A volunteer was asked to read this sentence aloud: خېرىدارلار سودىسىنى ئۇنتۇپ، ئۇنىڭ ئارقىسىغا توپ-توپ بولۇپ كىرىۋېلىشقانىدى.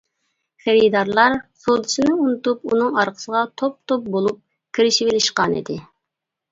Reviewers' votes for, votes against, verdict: 1, 2, rejected